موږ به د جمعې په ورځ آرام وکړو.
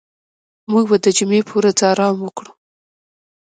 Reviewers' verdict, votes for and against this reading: rejected, 1, 2